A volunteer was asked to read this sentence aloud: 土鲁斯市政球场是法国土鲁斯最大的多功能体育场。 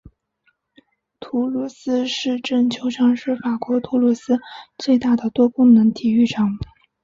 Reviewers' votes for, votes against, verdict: 6, 0, accepted